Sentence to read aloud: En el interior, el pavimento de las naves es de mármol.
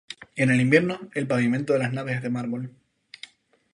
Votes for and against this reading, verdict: 0, 2, rejected